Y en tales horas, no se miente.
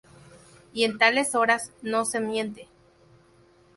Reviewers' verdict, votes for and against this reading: rejected, 0, 2